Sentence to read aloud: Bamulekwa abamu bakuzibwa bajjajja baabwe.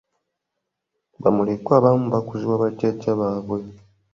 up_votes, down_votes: 2, 0